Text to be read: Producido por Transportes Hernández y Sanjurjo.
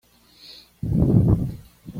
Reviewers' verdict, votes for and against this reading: rejected, 1, 2